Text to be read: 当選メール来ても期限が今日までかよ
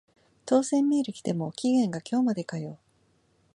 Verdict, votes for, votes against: accepted, 2, 0